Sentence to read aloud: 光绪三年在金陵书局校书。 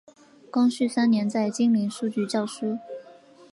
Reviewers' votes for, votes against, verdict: 5, 0, accepted